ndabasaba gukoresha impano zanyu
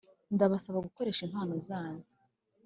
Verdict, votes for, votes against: accepted, 2, 0